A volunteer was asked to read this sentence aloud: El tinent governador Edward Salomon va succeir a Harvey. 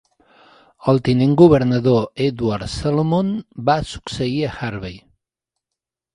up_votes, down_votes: 2, 0